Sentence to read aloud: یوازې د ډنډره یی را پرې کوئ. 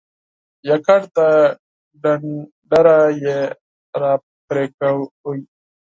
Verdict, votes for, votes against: rejected, 2, 4